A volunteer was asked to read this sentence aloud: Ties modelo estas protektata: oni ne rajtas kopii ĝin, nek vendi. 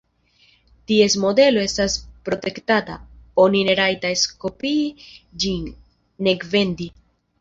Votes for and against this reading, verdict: 2, 0, accepted